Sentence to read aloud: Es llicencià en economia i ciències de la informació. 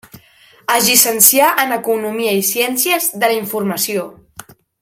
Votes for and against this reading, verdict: 1, 2, rejected